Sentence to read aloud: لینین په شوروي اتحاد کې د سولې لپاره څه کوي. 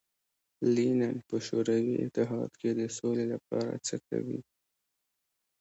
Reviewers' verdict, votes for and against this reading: rejected, 0, 2